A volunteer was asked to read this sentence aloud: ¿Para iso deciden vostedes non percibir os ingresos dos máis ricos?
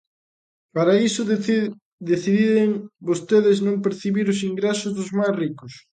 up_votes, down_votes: 0, 3